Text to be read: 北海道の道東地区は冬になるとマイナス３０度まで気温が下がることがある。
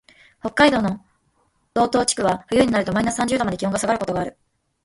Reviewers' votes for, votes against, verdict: 0, 2, rejected